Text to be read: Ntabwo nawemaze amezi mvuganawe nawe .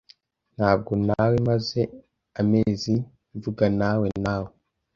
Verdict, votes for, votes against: rejected, 1, 2